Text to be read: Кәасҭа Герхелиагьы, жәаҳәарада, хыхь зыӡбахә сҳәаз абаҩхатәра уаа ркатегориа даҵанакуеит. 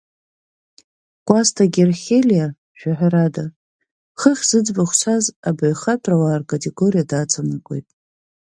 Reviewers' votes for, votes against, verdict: 4, 1, accepted